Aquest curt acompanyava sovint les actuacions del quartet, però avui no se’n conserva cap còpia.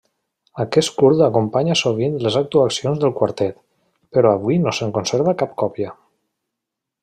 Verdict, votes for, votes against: rejected, 1, 2